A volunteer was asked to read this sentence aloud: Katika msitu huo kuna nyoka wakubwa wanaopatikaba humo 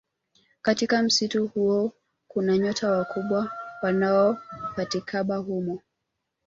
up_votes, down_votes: 1, 2